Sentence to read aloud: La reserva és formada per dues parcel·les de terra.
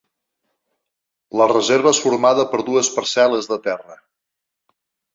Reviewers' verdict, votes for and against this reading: accepted, 3, 0